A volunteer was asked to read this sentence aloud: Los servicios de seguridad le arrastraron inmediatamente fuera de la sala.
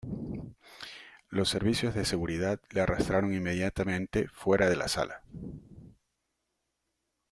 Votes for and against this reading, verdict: 1, 2, rejected